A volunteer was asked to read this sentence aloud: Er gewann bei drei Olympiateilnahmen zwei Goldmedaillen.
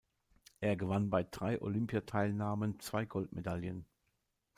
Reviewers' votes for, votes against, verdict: 2, 0, accepted